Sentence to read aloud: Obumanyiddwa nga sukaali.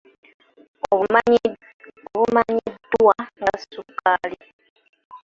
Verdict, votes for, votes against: rejected, 0, 2